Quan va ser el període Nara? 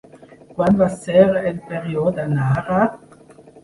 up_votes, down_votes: 1, 3